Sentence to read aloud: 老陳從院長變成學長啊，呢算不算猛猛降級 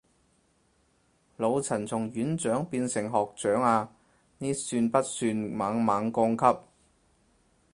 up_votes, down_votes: 4, 0